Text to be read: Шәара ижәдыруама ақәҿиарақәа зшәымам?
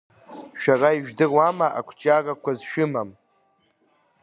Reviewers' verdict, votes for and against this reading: rejected, 0, 2